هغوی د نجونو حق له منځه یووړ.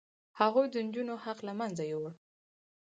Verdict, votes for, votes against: rejected, 2, 4